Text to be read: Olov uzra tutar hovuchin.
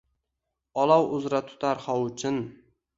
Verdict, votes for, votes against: rejected, 1, 2